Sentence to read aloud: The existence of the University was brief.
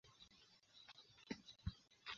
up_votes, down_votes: 0, 2